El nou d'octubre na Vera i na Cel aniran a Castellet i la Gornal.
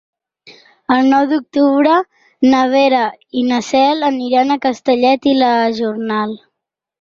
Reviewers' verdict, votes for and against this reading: rejected, 0, 4